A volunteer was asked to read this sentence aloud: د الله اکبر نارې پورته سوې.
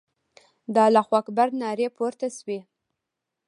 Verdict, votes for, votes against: accepted, 2, 0